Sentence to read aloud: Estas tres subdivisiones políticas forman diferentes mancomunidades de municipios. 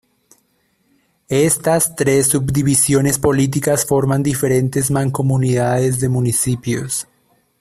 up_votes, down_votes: 2, 0